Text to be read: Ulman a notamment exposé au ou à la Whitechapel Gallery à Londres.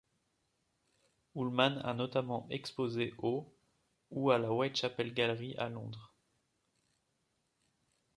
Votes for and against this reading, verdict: 2, 0, accepted